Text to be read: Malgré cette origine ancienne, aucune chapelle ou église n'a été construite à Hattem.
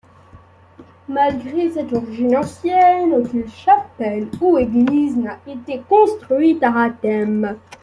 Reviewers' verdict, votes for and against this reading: accepted, 2, 0